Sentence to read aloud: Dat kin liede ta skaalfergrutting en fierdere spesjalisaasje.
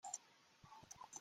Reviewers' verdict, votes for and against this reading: rejected, 0, 2